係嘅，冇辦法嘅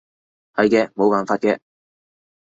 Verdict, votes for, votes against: accepted, 2, 0